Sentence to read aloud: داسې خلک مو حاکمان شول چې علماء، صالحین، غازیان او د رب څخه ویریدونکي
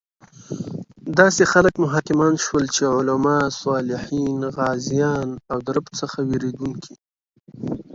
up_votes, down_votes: 2, 0